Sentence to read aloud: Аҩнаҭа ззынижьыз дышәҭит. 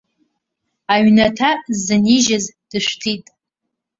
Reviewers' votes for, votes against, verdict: 3, 0, accepted